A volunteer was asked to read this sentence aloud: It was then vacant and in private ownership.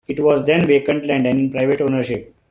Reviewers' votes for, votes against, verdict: 2, 0, accepted